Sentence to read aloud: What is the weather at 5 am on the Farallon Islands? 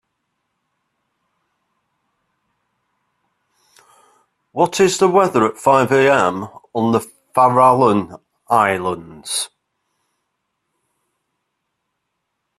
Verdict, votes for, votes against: rejected, 0, 2